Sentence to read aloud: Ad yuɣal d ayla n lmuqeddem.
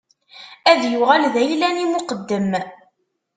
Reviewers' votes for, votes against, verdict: 1, 2, rejected